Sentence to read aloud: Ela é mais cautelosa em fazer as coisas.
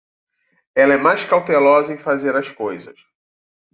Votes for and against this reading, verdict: 2, 0, accepted